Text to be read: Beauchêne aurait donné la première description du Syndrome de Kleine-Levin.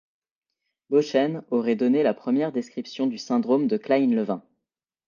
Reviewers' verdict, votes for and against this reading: accepted, 2, 0